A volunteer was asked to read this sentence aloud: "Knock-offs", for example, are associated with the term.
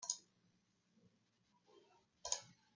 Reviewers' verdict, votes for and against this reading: rejected, 0, 2